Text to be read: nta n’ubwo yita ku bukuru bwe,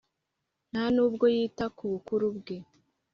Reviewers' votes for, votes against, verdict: 3, 0, accepted